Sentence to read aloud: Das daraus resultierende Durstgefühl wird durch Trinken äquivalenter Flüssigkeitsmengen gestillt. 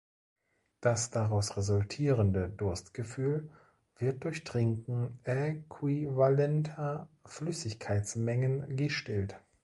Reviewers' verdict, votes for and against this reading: rejected, 1, 2